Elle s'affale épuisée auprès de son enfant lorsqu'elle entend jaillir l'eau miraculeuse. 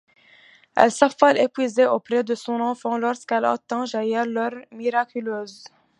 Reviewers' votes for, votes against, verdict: 1, 2, rejected